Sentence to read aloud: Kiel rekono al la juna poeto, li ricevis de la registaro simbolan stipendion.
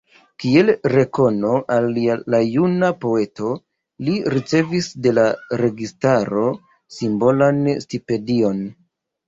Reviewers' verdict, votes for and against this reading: rejected, 1, 2